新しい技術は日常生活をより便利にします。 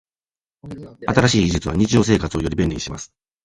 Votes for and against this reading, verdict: 2, 0, accepted